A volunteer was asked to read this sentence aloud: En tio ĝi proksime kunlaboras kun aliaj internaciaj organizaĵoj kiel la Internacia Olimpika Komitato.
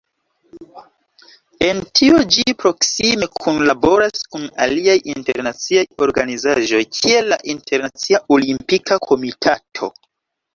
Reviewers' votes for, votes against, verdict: 2, 1, accepted